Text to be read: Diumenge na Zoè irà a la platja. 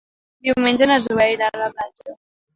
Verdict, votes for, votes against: rejected, 1, 2